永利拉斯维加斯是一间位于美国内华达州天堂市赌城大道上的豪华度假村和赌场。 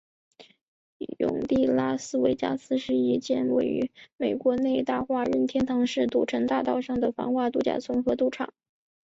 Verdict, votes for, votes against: rejected, 0, 2